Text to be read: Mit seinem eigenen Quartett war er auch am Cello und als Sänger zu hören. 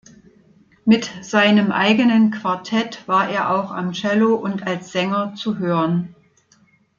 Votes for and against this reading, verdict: 2, 0, accepted